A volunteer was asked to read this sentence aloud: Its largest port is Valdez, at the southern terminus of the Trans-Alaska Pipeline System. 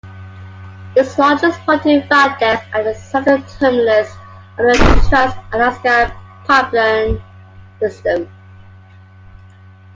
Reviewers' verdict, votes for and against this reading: accepted, 2, 1